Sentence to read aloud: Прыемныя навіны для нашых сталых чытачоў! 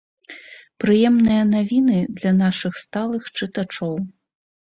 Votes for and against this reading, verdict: 3, 0, accepted